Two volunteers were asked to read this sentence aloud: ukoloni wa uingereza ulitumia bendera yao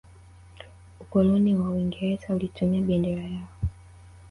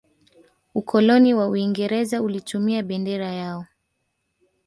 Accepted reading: second